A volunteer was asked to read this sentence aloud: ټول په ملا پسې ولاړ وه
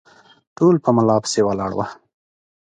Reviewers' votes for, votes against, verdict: 2, 0, accepted